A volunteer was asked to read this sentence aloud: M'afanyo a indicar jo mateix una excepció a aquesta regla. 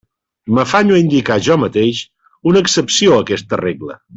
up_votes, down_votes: 2, 0